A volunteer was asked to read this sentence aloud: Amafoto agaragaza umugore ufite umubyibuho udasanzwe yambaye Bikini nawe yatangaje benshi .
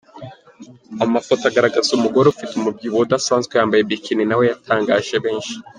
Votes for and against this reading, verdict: 2, 0, accepted